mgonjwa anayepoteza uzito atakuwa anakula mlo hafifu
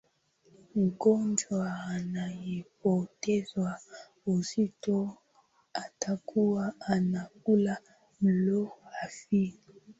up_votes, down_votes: 2, 1